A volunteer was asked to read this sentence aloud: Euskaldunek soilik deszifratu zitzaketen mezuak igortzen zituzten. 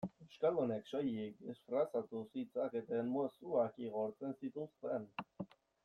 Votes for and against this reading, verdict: 0, 2, rejected